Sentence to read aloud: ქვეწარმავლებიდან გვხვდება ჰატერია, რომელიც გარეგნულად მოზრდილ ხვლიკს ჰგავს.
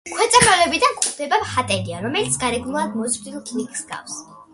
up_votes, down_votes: 2, 0